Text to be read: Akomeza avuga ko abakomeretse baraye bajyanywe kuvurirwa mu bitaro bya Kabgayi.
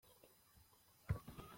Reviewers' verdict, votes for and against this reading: rejected, 0, 2